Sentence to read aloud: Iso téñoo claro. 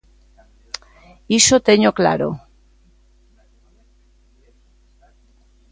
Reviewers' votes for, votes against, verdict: 2, 0, accepted